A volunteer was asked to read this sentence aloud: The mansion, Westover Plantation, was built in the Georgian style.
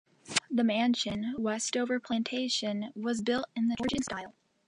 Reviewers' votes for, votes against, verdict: 1, 2, rejected